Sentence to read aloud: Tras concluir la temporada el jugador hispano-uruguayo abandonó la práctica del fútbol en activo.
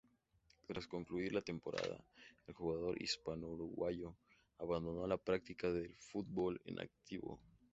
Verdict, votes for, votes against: accepted, 2, 0